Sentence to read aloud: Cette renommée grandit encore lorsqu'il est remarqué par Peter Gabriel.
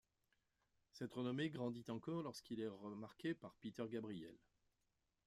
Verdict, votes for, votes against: rejected, 1, 2